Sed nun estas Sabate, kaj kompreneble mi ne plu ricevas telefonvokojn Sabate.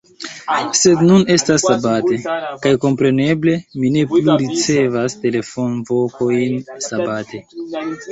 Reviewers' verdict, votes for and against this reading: accepted, 2, 1